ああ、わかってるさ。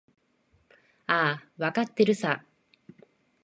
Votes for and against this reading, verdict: 1, 2, rejected